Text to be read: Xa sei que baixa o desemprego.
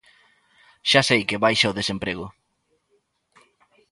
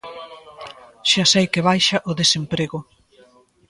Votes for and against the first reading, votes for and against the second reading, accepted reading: 2, 0, 1, 2, first